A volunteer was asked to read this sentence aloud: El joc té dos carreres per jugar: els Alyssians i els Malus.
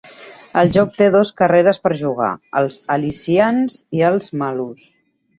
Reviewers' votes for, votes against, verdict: 2, 0, accepted